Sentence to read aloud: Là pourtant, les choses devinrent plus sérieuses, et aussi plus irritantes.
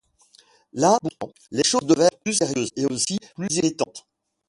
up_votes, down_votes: 0, 2